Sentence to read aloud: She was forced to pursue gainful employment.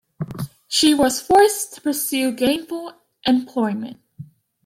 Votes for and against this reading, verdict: 2, 1, accepted